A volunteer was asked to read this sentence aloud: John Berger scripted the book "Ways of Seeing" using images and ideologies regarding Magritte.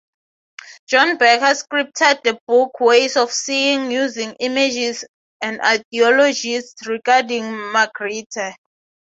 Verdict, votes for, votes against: accepted, 3, 0